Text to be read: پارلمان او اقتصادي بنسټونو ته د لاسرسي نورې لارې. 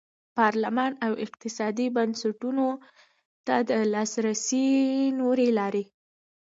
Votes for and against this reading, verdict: 2, 0, accepted